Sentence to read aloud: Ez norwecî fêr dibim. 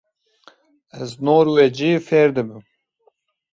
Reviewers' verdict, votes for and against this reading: accepted, 2, 0